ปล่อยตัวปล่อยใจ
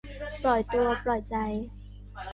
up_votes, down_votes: 1, 2